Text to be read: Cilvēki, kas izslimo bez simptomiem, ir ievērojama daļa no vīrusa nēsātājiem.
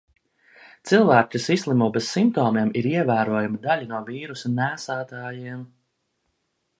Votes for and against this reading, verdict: 0, 2, rejected